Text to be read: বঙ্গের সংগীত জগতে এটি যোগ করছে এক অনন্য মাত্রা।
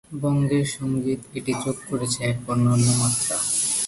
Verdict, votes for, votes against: rejected, 1, 2